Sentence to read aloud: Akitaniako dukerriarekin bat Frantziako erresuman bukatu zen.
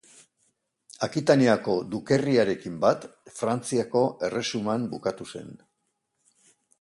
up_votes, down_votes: 2, 0